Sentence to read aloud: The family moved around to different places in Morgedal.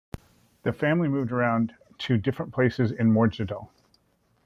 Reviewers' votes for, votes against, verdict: 2, 0, accepted